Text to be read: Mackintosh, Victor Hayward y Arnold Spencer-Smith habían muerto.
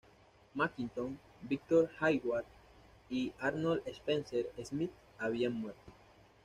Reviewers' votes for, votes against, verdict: 2, 0, accepted